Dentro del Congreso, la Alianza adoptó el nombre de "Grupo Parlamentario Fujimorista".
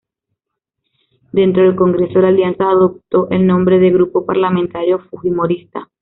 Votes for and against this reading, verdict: 2, 0, accepted